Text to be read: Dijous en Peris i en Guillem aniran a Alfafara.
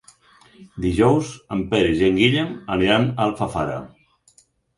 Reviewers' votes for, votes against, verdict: 4, 0, accepted